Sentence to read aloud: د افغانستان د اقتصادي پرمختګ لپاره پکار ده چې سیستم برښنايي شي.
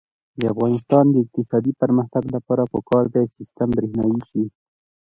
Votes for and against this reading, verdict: 2, 0, accepted